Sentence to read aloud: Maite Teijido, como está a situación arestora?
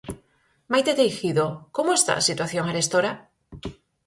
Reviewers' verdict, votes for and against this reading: accepted, 4, 0